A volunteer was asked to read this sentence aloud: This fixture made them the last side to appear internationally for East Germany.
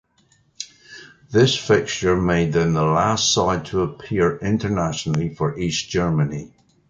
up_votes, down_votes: 2, 0